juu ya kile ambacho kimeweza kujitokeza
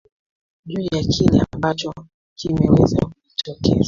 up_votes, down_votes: 0, 2